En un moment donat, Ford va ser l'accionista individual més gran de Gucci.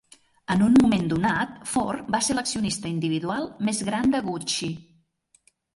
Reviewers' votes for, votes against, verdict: 5, 0, accepted